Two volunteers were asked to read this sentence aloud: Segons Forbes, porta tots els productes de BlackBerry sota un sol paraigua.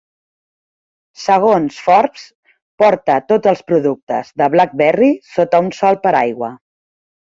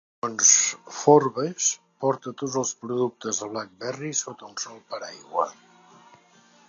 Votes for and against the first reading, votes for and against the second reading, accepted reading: 2, 1, 0, 2, first